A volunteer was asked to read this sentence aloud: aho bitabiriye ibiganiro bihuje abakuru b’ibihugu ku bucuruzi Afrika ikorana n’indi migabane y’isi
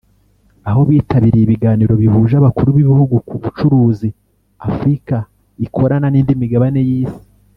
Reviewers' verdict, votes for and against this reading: rejected, 1, 2